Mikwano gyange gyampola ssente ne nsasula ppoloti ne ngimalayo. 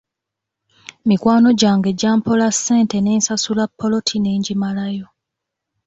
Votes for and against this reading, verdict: 2, 0, accepted